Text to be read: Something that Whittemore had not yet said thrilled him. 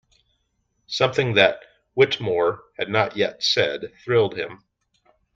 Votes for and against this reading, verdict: 2, 0, accepted